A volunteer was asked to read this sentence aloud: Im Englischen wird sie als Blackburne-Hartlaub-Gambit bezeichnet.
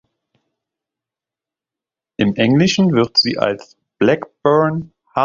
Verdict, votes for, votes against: rejected, 0, 2